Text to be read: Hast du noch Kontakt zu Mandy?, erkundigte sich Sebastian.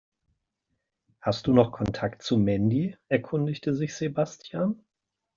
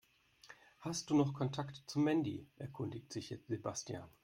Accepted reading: first